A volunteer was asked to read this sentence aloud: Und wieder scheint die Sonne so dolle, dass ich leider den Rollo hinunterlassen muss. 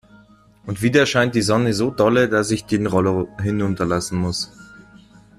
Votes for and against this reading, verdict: 1, 2, rejected